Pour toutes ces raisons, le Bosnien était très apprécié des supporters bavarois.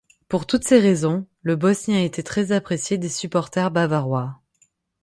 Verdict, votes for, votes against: accepted, 6, 0